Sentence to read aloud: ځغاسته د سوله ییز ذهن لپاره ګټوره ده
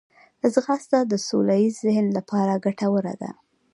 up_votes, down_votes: 2, 0